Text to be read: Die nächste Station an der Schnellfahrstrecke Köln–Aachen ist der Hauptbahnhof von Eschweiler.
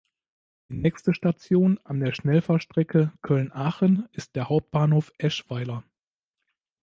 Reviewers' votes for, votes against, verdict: 0, 2, rejected